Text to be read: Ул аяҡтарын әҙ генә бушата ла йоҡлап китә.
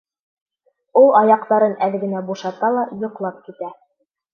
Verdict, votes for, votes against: accepted, 2, 1